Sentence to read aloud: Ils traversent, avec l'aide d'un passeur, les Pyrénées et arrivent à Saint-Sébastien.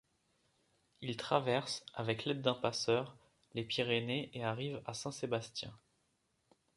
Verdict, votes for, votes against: accepted, 2, 0